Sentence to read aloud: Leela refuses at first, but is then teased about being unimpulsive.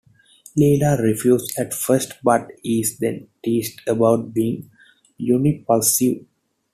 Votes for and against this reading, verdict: 0, 2, rejected